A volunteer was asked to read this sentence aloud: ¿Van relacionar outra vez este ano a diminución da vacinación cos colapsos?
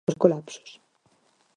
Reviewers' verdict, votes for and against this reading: rejected, 0, 4